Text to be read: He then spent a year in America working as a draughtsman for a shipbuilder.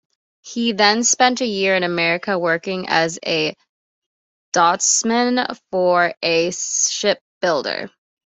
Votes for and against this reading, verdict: 2, 1, accepted